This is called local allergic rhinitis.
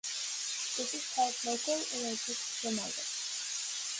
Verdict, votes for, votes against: rejected, 0, 2